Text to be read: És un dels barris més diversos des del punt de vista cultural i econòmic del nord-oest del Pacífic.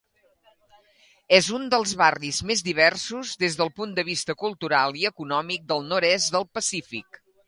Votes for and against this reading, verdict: 1, 2, rejected